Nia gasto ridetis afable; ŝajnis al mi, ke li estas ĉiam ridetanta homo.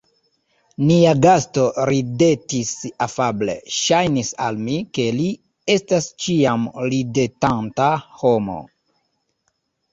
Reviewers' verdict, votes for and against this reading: accepted, 3, 1